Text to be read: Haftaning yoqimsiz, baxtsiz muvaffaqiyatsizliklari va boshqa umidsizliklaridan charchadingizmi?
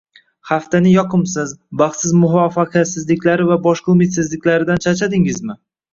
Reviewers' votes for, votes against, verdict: 1, 2, rejected